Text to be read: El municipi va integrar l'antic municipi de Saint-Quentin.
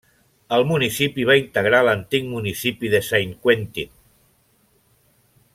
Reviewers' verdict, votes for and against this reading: accepted, 2, 0